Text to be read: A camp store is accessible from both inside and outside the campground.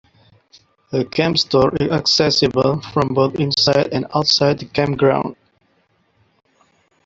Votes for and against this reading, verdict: 1, 2, rejected